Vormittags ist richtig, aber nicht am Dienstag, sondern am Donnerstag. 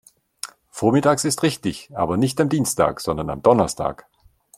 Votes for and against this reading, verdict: 2, 0, accepted